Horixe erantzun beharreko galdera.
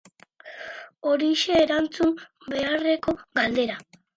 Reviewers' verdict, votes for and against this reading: accepted, 2, 0